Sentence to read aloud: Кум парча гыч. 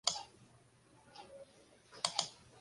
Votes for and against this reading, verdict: 0, 2, rejected